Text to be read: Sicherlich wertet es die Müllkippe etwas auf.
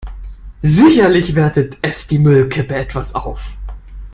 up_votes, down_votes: 0, 2